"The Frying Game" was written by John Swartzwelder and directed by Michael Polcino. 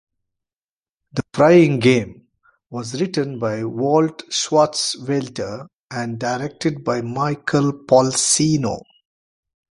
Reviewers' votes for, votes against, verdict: 1, 2, rejected